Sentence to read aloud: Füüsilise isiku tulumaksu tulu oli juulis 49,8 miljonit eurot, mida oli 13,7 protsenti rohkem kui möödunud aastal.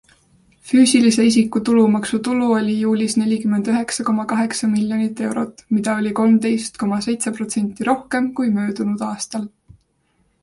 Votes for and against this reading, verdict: 0, 2, rejected